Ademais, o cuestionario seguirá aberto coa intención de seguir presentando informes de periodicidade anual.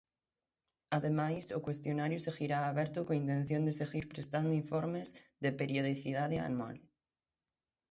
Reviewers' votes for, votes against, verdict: 3, 6, rejected